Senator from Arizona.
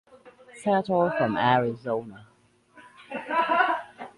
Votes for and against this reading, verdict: 0, 2, rejected